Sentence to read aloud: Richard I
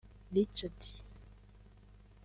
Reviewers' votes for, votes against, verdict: 0, 2, rejected